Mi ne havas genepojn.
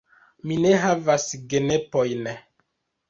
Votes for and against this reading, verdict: 0, 2, rejected